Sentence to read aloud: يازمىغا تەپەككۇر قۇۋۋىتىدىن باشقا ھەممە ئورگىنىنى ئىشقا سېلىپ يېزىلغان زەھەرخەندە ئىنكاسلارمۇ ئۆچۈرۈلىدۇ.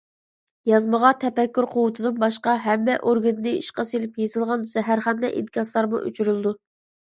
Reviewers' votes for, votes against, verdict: 2, 0, accepted